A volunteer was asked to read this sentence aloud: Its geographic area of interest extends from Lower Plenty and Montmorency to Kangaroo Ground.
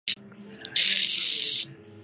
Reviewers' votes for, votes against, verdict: 0, 2, rejected